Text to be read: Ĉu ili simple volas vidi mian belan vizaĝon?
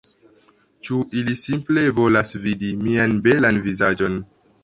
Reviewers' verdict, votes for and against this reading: accepted, 2, 0